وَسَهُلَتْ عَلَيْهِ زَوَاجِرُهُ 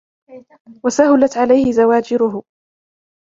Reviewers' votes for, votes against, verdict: 2, 0, accepted